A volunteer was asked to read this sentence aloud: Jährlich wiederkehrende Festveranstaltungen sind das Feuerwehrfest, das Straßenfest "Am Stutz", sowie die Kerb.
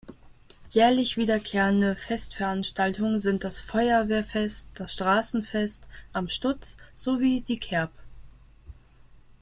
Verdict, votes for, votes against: accepted, 2, 0